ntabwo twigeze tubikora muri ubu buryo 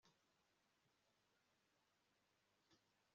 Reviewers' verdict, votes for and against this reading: rejected, 1, 2